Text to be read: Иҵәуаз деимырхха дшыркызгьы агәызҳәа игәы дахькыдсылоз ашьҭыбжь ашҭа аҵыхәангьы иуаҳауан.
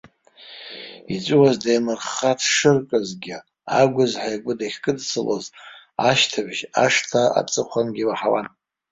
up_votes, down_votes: 1, 2